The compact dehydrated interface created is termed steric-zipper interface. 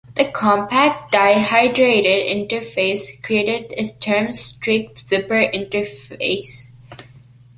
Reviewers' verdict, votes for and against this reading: rejected, 1, 2